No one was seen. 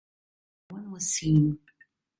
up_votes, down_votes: 0, 2